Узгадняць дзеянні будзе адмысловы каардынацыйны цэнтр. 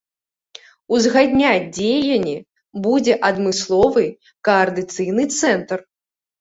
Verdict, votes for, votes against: rejected, 0, 2